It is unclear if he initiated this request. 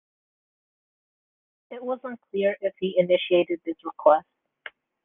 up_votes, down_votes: 0, 2